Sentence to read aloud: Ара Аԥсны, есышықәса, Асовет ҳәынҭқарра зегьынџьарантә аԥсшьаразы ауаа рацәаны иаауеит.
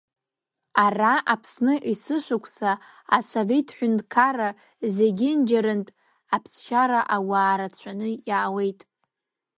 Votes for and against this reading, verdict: 1, 2, rejected